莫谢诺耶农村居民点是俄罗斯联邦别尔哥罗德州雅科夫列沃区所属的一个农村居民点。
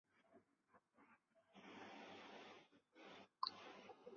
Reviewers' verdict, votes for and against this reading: rejected, 0, 2